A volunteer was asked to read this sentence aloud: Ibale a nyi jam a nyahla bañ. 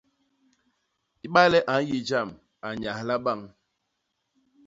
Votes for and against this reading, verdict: 2, 0, accepted